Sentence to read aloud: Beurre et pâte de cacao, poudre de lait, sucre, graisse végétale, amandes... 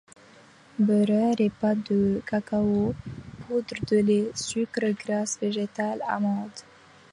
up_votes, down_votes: 1, 2